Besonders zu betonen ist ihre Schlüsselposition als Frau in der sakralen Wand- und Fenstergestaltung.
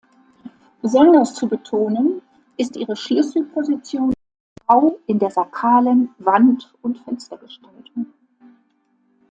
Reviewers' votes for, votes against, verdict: 0, 2, rejected